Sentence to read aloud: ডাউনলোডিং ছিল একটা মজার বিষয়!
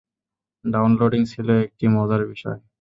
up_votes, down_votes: 2, 2